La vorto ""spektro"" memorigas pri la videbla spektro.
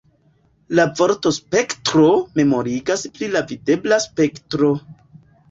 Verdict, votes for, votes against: accepted, 2, 0